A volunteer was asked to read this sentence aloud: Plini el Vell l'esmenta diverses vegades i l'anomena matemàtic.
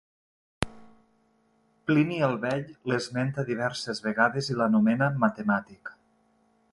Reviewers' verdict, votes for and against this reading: rejected, 1, 2